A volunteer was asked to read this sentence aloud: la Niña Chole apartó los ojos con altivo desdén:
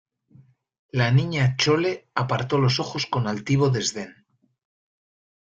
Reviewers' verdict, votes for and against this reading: accepted, 2, 0